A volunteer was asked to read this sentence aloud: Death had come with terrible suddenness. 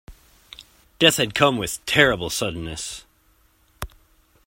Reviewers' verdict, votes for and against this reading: accepted, 2, 0